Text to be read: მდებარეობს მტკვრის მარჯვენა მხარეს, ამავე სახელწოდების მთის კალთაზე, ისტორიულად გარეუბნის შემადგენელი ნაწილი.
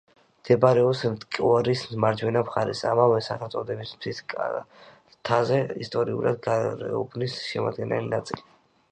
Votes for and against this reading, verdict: 0, 2, rejected